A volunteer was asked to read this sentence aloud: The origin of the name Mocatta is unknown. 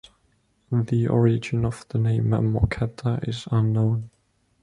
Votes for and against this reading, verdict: 2, 1, accepted